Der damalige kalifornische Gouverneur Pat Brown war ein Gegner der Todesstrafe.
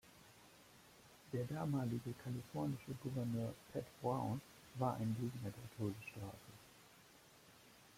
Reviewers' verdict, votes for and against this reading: rejected, 1, 2